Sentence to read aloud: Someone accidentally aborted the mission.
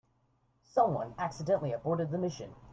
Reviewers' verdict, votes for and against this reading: accepted, 2, 0